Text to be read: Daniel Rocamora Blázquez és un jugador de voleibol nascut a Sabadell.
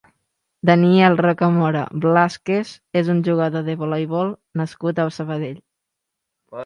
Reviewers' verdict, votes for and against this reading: accepted, 2, 0